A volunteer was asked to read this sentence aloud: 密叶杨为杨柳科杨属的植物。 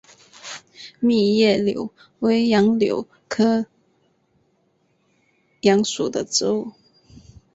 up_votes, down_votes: 2, 0